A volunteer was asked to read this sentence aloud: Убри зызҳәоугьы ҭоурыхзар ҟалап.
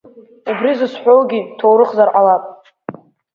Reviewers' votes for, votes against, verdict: 2, 1, accepted